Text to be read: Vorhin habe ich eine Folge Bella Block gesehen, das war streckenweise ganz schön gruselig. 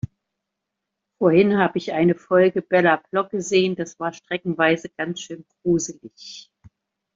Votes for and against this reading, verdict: 2, 0, accepted